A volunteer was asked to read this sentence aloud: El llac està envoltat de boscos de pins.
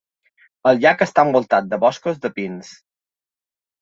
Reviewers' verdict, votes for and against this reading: accepted, 4, 0